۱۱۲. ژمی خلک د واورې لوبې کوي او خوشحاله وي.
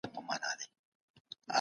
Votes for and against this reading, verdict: 0, 2, rejected